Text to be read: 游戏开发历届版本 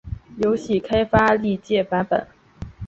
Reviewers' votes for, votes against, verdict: 3, 0, accepted